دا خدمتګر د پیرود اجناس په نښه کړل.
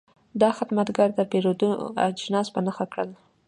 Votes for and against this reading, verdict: 2, 0, accepted